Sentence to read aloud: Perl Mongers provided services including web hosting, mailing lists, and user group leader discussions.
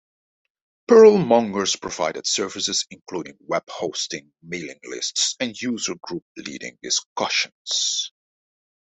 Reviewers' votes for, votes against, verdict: 0, 2, rejected